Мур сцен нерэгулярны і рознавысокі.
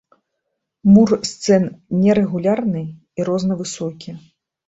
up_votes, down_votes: 2, 1